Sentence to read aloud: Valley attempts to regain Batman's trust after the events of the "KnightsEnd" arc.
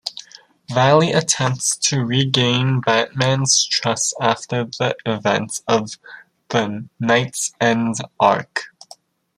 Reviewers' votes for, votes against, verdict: 2, 1, accepted